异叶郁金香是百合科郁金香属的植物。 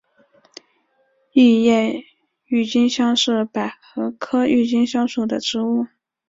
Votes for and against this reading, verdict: 2, 0, accepted